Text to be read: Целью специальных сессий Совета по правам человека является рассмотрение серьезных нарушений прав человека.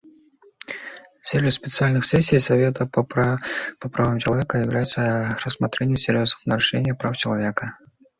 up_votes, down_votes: 0, 2